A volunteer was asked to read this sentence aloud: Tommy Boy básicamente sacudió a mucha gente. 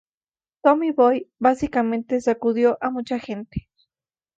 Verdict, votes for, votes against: accepted, 2, 0